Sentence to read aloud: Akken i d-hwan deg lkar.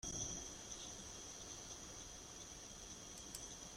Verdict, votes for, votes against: rejected, 0, 2